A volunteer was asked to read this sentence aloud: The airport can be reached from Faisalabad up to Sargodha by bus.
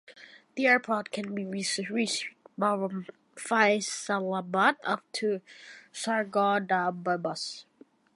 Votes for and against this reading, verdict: 1, 2, rejected